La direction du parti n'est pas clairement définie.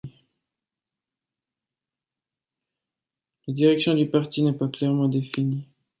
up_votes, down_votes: 2, 1